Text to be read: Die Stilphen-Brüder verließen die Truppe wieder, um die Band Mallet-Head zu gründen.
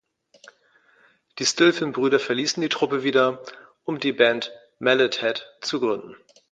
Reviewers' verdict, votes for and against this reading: accepted, 2, 0